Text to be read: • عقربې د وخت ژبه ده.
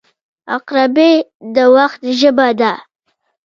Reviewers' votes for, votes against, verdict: 3, 0, accepted